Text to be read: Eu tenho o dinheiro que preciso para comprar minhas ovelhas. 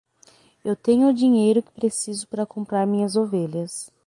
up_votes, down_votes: 3, 3